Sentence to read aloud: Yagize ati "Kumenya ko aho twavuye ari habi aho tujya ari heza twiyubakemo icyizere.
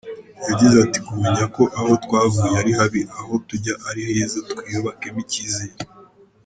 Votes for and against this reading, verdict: 2, 0, accepted